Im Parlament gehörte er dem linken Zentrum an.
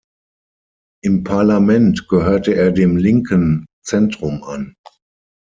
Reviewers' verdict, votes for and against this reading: accepted, 6, 0